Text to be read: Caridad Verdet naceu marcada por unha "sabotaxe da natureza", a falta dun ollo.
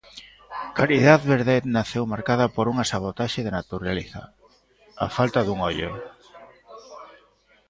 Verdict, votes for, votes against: rejected, 1, 2